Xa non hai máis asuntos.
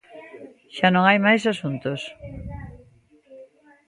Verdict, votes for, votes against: accepted, 2, 0